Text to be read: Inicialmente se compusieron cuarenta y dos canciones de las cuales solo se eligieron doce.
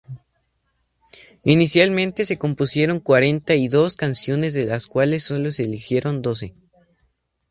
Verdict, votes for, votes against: accepted, 2, 0